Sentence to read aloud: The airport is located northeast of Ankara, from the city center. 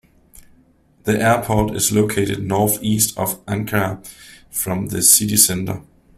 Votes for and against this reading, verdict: 2, 0, accepted